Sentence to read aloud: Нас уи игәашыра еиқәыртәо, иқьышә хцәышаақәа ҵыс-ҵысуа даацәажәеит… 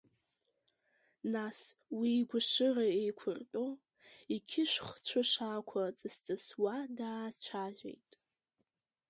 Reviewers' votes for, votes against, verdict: 1, 2, rejected